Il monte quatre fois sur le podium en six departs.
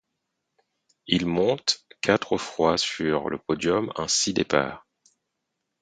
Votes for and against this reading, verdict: 4, 0, accepted